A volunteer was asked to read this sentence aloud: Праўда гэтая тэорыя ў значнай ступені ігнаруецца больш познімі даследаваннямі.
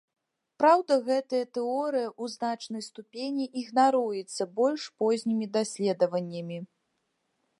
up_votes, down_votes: 2, 0